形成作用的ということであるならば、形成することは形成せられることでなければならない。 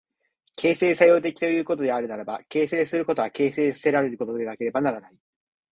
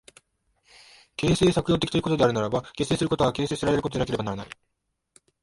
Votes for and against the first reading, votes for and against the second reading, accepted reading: 2, 0, 0, 2, first